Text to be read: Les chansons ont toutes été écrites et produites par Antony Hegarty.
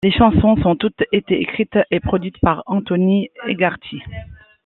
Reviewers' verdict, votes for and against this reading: rejected, 0, 2